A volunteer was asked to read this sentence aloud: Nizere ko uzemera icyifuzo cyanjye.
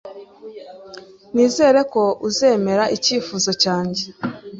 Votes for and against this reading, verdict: 2, 0, accepted